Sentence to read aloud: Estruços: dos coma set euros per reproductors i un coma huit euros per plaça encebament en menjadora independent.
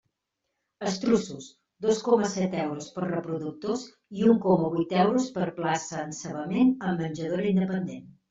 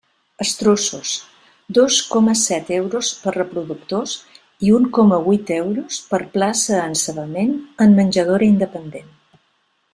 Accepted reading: second